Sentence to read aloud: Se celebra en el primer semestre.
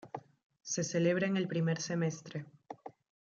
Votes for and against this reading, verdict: 2, 0, accepted